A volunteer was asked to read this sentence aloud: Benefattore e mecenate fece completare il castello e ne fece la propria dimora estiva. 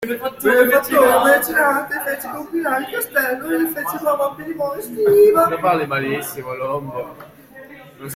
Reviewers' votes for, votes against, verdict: 0, 2, rejected